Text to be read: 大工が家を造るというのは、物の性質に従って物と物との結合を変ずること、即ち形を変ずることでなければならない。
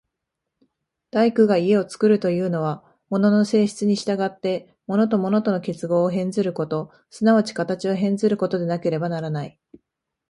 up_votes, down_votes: 3, 1